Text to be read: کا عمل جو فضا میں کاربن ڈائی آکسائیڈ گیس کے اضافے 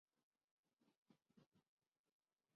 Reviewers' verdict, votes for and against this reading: rejected, 1, 3